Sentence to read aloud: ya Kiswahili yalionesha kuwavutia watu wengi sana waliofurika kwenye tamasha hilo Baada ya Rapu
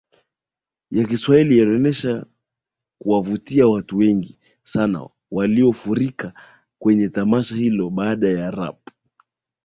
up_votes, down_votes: 2, 1